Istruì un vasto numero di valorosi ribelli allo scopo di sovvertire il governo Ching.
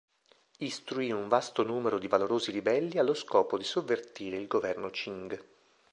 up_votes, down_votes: 2, 0